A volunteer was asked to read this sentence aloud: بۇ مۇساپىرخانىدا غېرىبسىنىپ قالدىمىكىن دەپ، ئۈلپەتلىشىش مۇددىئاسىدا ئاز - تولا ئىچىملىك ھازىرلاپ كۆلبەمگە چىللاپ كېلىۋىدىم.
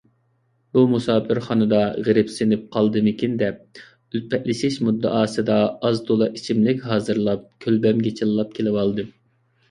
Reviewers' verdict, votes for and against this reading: rejected, 0, 2